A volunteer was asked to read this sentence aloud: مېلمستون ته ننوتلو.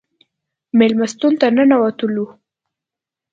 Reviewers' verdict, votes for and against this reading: accepted, 2, 0